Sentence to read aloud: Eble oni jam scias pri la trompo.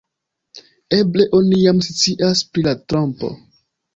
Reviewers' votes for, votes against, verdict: 1, 2, rejected